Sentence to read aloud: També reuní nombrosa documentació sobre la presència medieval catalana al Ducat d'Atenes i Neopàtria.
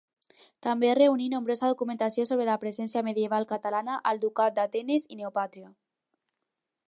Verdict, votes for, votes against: accepted, 2, 0